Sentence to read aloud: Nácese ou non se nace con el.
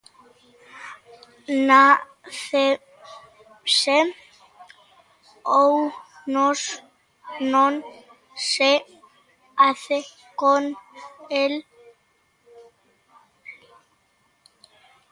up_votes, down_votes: 0, 2